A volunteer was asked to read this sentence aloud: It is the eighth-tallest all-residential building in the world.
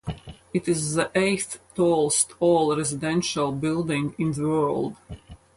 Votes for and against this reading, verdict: 2, 2, rejected